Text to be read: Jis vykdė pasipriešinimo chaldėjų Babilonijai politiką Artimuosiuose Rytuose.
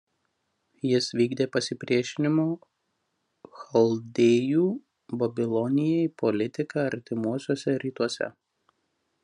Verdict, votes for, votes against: rejected, 0, 2